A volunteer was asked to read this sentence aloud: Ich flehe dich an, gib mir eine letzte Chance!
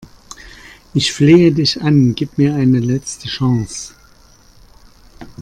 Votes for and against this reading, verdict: 2, 0, accepted